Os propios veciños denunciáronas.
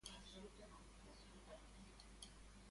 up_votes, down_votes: 0, 2